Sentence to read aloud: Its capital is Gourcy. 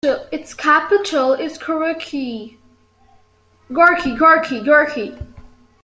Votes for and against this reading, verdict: 1, 2, rejected